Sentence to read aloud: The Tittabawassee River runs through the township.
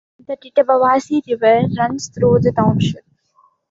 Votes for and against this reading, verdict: 2, 1, accepted